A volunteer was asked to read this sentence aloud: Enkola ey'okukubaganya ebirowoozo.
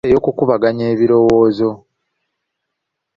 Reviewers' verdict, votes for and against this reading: rejected, 1, 2